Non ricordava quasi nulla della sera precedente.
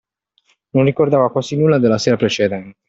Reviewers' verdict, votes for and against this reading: rejected, 0, 2